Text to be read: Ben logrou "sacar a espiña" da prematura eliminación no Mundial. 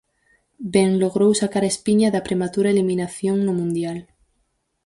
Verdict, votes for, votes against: accepted, 4, 0